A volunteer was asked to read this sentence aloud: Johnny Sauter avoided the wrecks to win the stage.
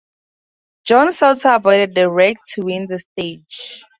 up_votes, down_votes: 2, 0